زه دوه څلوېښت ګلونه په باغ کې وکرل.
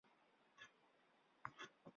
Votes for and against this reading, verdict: 1, 2, rejected